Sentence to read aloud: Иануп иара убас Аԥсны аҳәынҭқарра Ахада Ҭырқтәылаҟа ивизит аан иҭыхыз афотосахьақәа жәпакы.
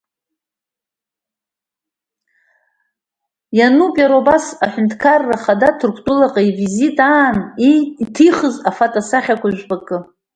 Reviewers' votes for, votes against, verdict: 1, 2, rejected